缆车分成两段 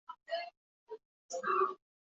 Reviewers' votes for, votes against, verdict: 1, 5, rejected